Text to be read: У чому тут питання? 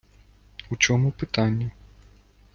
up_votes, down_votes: 1, 2